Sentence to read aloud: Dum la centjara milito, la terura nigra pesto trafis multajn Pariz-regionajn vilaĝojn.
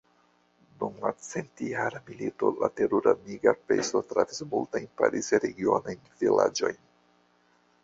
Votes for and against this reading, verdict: 1, 2, rejected